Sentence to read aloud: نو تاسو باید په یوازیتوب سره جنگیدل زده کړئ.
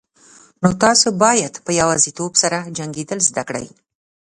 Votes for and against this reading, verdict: 2, 0, accepted